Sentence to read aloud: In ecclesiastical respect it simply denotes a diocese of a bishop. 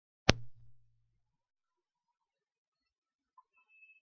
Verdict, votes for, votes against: rejected, 0, 2